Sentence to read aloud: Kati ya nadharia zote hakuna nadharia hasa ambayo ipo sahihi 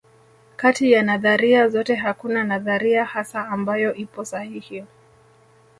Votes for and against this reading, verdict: 0, 2, rejected